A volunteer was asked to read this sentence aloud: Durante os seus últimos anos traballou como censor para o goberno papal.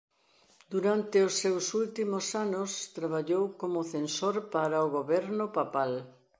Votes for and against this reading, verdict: 2, 0, accepted